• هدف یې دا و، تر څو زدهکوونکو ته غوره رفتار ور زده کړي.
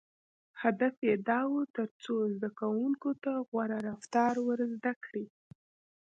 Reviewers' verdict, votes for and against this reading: accepted, 2, 1